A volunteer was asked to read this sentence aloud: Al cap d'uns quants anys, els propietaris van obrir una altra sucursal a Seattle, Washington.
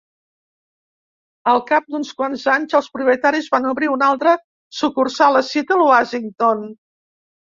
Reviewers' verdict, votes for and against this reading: rejected, 1, 2